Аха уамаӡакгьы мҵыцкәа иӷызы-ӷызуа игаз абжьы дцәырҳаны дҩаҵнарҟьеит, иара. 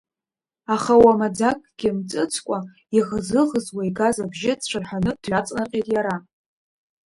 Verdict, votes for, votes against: accepted, 2, 0